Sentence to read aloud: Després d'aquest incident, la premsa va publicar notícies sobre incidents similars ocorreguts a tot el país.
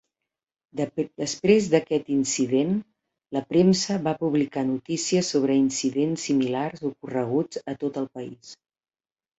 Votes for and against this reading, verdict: 0, 2, rejected